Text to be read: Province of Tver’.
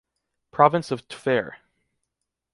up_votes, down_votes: 2, 0